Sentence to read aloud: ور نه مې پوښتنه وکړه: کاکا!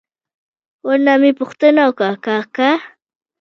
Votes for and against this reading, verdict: 2, 0, accepted